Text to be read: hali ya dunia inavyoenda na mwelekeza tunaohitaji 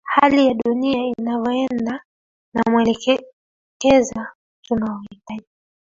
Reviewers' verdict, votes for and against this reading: rejected, 0, 3